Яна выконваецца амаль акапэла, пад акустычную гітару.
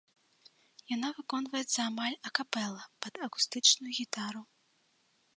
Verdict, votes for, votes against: accepted, 2, 1